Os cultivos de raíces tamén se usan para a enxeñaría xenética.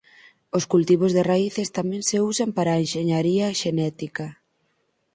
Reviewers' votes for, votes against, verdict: 4, 0, accepted